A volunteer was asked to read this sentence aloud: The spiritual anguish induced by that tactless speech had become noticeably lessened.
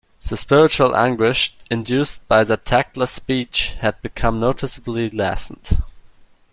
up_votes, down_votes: 0, 2